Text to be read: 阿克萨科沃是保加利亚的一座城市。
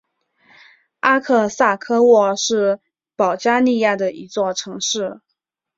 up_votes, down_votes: 6, 1